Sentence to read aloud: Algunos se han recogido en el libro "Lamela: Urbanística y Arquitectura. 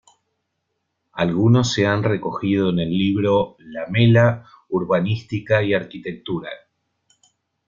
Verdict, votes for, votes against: accepted, 2, 0